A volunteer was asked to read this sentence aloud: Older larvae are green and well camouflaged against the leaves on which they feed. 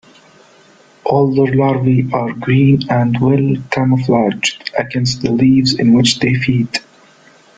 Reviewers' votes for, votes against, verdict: 1, 2, rejected